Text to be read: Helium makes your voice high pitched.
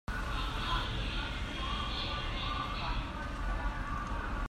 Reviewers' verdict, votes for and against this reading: rejected, 0, 2